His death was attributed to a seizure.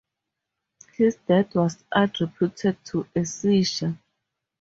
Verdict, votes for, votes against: rejected, 0, 2